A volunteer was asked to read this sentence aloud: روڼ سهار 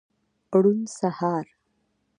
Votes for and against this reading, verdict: 2, 0, accepted